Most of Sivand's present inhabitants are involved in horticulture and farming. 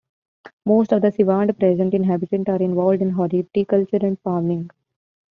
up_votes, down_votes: 0, 2